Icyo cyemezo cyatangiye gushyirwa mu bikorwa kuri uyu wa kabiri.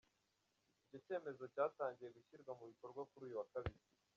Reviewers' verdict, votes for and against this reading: rejected, 0, 2